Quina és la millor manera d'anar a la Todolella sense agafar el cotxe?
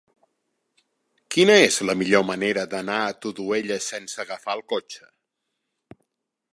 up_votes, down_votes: 0, 2